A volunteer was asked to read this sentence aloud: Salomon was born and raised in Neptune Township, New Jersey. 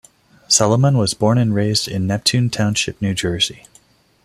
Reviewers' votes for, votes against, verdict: 2, 0, accepted